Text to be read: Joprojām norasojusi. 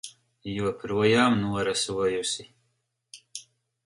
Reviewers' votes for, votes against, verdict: 4, 0, accepted